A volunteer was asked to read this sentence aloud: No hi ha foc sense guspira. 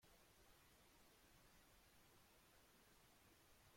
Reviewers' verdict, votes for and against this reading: rejected, 0, 2